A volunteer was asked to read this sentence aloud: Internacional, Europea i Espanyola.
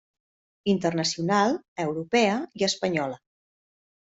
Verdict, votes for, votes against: accepted, 3, 0